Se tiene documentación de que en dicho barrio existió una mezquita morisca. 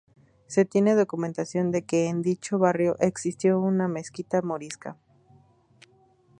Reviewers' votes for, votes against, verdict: 2, 0, accepted